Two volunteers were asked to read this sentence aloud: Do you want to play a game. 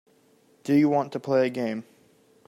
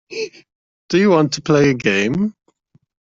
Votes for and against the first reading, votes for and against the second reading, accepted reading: 2, 0, 0, 2, first